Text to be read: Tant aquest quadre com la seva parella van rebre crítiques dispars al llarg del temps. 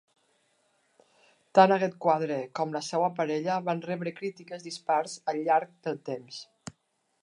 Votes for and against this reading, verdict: 2, 1, accepted